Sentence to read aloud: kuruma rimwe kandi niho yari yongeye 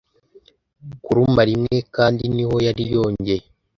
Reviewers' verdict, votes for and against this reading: accepted, 2, 0